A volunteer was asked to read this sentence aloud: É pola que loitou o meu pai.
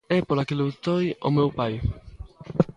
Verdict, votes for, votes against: rejected, 0, 2